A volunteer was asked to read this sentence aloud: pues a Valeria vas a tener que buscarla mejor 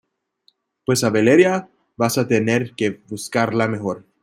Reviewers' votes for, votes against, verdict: 2, 1, accepted